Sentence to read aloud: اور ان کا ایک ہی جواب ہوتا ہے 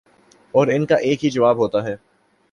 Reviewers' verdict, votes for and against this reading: accepted, 2, 0